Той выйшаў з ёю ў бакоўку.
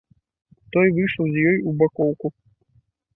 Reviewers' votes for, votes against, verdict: 2, 1, accepted